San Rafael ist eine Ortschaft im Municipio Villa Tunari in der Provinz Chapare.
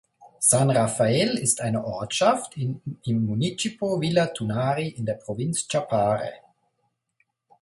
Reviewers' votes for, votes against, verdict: 2, 0, accepted